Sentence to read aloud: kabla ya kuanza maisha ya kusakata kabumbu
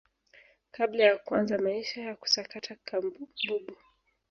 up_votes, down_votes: 1, 2